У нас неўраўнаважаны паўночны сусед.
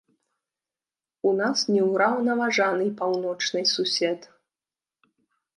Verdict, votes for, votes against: rejected, 0, 2